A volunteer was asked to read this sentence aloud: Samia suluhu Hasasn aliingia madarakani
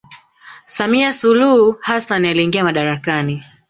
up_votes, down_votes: 2, 1